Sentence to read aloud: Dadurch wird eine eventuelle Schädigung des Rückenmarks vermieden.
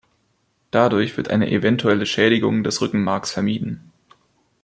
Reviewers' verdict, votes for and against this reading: accepted, 2, 0